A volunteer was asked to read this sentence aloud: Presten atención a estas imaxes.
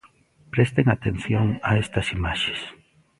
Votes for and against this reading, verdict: 1, 2, rejected